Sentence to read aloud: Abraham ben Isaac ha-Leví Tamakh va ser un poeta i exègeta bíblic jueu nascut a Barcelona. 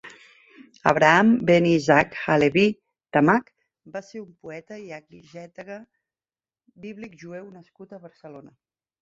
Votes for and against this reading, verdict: 0, 2, rejected